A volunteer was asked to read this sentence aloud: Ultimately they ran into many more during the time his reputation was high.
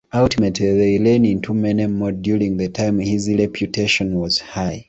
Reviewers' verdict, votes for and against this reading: rejected, 0, 2